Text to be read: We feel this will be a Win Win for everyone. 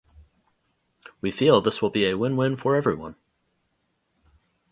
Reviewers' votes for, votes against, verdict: 2, 0, accepted